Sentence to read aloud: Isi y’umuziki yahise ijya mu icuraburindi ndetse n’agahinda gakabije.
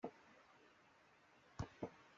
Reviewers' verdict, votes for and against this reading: rejected, 0, 2